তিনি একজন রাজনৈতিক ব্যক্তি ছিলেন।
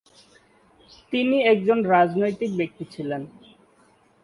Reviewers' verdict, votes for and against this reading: accepted, 2, 0